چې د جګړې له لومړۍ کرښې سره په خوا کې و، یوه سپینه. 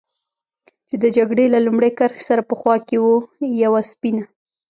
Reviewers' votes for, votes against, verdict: 2, 0, accepted